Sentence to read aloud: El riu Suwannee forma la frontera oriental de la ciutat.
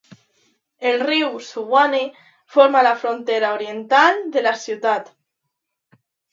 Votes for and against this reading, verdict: 2, 0, accepted